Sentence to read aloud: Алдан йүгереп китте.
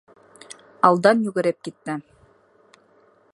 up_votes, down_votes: 2, 0